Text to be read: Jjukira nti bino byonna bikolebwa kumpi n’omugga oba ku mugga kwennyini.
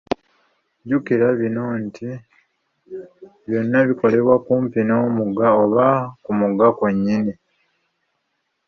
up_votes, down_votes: 0, 2